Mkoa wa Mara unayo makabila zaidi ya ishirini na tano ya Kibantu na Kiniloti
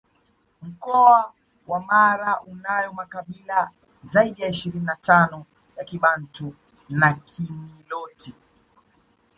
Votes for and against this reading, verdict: 2, 1, accepted